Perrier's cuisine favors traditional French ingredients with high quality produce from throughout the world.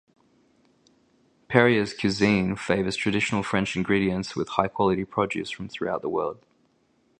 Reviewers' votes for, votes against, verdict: 0, 2, rejected